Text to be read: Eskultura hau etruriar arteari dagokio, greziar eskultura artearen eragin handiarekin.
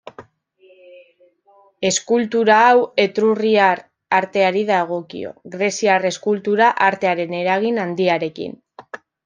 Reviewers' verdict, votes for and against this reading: rejected, 0, 2